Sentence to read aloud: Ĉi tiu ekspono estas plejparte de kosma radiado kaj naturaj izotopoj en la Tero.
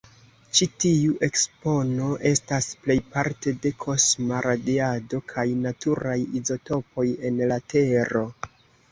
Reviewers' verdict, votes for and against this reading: accepted, 2, 0